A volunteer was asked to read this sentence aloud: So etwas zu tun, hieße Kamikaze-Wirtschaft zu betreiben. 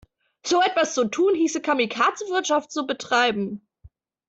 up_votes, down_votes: 2, 0